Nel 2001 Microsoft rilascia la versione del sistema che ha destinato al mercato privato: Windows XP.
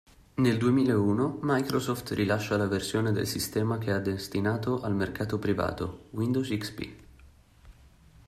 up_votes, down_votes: 0, 2